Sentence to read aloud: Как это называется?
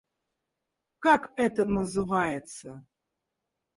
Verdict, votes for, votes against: rejected, 0, 4